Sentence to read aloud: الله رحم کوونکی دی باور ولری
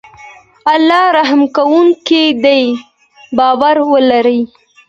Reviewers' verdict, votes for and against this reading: accepted, 2, 0